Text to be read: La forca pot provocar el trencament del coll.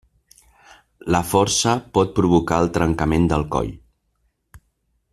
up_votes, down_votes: 1, 2